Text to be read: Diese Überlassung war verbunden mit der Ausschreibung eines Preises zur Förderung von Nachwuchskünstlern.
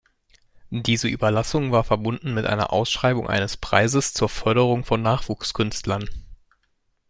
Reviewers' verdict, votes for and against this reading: rejected, 1, 2